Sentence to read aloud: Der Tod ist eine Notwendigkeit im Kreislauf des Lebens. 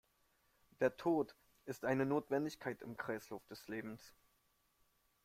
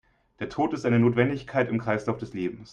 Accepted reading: second